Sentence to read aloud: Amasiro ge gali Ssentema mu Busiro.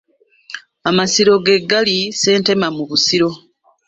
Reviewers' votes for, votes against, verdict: 2, 1, accepted